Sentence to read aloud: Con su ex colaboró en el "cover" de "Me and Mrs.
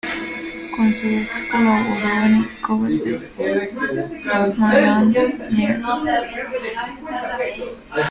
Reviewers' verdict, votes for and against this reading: rejected, 0, 2